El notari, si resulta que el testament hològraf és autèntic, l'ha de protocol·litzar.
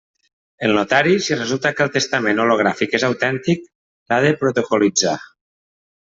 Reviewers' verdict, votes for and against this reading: rejected, 0, 2